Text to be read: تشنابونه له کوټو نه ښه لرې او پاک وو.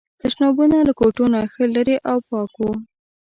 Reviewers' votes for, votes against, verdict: 1, 2, rejected